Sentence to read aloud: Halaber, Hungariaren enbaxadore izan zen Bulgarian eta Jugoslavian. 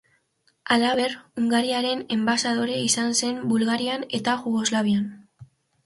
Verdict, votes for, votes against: rejected, 1, 2